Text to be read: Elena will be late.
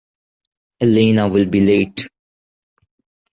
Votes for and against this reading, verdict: 2, 0, accepted